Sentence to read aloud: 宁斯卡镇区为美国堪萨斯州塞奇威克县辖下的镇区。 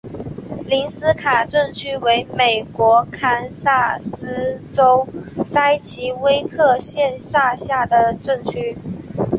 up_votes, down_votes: 2, 0